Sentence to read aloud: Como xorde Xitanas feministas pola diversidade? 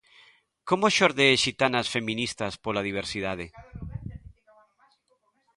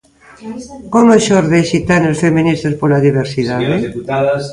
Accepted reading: first